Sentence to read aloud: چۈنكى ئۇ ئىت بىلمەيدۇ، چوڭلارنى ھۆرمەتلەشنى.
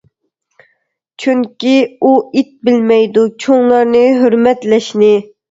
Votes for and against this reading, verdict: 2, 0, accepted